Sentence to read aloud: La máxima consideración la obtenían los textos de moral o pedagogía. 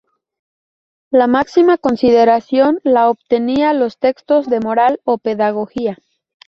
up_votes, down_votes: 2, 2